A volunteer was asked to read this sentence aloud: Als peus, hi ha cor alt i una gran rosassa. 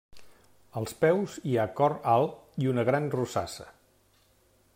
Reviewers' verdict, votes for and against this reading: rejected, 1, 2